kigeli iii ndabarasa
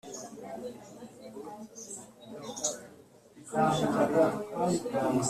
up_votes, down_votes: 0, 3